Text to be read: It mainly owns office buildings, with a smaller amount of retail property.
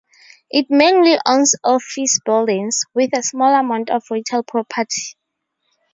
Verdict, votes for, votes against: rejected, 0, 2